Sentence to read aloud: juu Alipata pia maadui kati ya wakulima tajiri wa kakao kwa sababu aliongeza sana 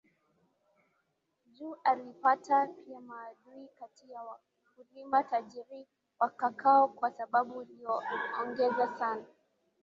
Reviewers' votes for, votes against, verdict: 0, 3, rejected